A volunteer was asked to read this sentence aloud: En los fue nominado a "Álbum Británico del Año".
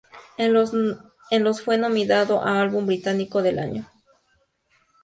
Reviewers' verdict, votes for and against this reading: accepted, 2, 0